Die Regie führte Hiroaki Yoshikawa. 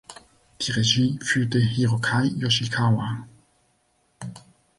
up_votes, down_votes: 1, 3